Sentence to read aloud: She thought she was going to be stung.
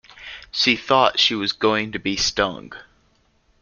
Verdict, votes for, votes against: accepted, 2, 0